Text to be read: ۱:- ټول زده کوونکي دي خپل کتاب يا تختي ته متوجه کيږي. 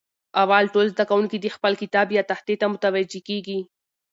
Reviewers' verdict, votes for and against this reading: rejected, 0, 2